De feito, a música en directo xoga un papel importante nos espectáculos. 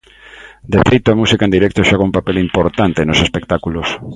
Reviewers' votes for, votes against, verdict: 2, 0, accepted